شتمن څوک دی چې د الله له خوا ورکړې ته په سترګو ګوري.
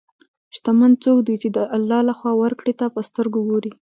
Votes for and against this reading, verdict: 0, 2, rejected